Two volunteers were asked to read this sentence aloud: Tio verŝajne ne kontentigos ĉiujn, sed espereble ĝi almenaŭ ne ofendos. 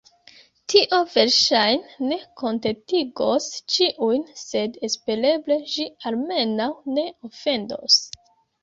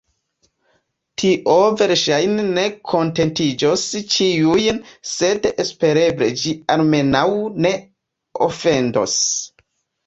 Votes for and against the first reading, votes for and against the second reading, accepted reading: 2, 0, 0, 2, first